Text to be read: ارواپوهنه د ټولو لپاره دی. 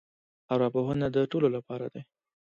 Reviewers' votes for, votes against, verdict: 2, 1, accepted